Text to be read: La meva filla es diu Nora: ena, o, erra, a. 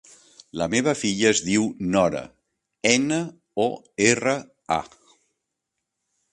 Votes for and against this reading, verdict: 3, 0, accepted